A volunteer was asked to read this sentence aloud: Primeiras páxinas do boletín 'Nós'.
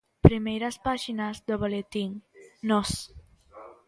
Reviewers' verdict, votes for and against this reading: accepted, 2, 0